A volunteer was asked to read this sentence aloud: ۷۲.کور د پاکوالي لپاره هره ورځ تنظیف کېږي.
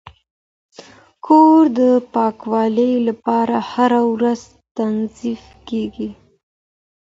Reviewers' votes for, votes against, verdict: 0, 2, rejected